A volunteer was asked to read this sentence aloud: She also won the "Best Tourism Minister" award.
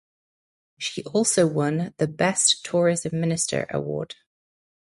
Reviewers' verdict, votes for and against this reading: accepted, 4, 0